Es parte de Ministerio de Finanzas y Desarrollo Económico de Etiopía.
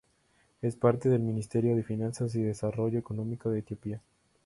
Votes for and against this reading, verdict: 2, 2, rejected